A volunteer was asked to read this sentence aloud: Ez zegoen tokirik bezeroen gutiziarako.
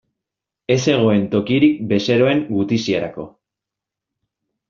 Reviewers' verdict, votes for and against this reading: accepted, 2, 0